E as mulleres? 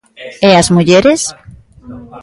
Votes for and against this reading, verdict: 2, 0, accepted